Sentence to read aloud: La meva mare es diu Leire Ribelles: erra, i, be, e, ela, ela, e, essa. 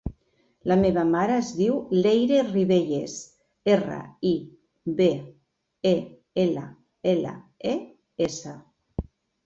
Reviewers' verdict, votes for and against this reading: accepted, 2, 0